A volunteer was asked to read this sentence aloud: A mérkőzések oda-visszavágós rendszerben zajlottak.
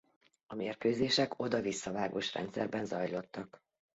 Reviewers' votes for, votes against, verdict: 2, 0, accepted